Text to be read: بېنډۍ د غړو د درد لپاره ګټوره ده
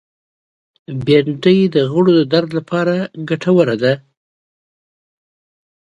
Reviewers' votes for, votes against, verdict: 2, 0, accepted